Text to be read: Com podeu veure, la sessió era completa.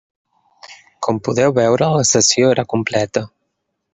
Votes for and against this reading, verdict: 3, 0, accepted